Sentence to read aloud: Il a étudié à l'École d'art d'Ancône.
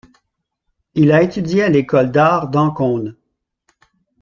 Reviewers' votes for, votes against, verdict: 2, 3, rejected